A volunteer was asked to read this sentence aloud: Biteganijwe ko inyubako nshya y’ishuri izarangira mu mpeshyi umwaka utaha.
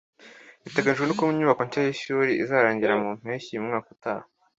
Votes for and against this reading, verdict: 2, 1, accepted